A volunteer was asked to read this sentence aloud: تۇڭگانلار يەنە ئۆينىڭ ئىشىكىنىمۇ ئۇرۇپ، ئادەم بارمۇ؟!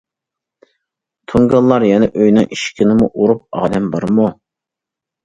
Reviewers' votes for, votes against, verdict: 2, 0, accepted